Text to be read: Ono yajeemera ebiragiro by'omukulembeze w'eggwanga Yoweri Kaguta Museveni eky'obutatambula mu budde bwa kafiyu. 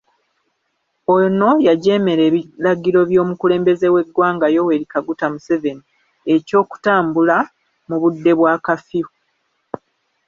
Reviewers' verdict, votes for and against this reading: rejected, 1, 2